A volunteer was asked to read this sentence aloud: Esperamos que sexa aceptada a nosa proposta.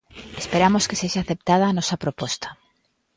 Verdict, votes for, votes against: accepted, 3, 0